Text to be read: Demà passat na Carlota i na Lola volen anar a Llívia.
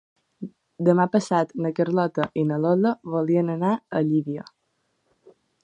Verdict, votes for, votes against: rejected, 1, 3